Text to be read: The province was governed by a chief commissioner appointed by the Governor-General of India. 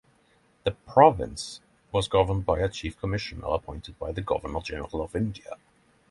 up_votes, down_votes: 3, 0